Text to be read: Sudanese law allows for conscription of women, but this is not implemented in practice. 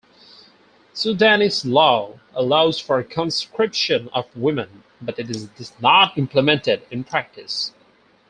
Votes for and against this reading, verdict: 2, 2, rejected